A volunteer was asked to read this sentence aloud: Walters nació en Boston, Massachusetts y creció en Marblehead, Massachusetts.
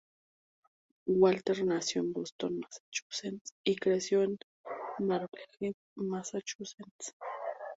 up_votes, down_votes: 2, 0